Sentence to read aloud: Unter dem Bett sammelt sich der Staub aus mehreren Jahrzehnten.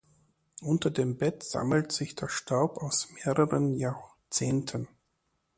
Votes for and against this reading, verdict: 1, 2, rejected